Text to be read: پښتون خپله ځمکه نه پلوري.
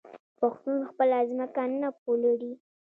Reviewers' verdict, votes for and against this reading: accepted, 2, 0